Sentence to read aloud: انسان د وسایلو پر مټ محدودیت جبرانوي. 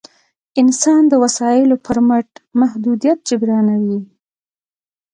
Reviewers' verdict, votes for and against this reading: accepted, 3, 0